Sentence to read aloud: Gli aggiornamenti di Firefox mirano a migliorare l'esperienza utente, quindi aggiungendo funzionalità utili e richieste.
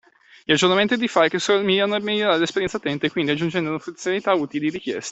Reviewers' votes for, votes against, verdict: 0, 2, rejected